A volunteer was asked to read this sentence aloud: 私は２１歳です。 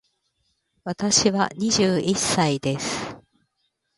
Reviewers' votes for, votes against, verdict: 0, 2, rejected